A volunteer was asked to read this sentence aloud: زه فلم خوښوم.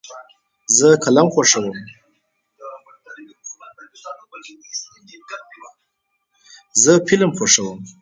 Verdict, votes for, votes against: rejected, 2, 4